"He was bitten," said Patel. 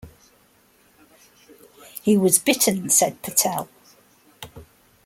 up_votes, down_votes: 2, 1